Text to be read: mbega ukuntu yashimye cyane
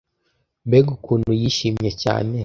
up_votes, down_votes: 1, 2